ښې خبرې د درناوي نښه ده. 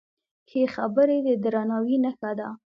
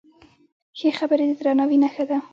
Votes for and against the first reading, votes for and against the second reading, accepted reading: 2, 0, 1, 2, first